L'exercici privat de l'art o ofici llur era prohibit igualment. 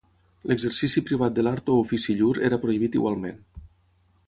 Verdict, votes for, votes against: accepted, 6, 0